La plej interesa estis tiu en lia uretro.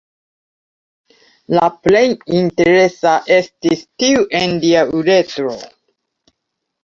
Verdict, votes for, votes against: accepted, 2, 0